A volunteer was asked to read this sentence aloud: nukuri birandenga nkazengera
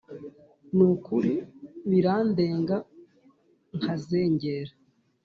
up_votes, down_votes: 2, 0